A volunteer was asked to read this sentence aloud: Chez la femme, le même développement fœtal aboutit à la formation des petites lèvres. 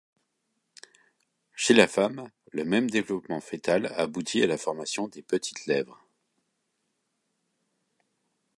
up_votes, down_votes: 2, 0